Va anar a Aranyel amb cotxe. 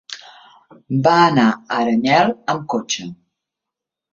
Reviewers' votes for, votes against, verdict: 1, 2, rejected